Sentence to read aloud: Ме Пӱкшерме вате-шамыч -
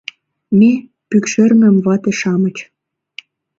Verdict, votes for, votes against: rejected, 0, 2